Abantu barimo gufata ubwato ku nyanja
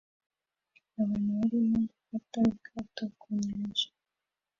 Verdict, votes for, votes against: accepted, 2, 1